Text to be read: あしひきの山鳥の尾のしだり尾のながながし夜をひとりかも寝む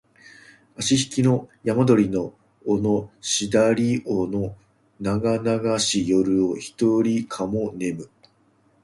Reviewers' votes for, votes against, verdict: 0, 2, rejected